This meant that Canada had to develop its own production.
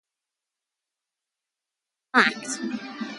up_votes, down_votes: 0, 2